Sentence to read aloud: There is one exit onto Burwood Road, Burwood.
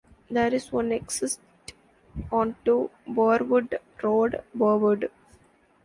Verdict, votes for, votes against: rejected, 0, 2